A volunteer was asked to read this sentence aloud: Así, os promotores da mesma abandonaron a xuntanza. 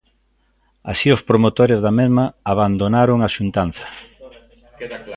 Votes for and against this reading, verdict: 1, 2, rejected